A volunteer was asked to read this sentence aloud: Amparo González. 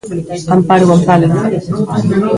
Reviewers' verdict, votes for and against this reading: rejected, 1, 2